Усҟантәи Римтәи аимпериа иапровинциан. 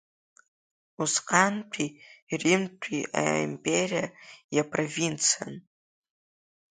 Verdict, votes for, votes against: accepted, 2, 1